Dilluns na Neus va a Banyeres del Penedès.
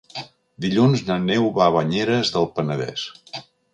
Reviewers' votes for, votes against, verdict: 0, 2, rejected